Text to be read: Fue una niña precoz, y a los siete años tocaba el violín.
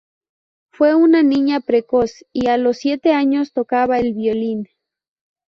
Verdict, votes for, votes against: accepted, 2, 0